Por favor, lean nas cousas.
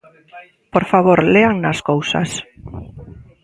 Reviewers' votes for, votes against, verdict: 1, 2, rejected